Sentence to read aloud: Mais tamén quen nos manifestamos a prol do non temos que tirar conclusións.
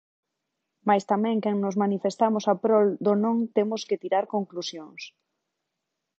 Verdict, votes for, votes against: accepted, 2, 0